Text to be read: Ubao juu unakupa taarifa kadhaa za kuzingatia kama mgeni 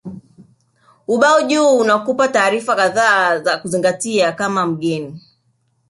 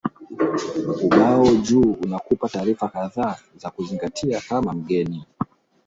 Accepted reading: first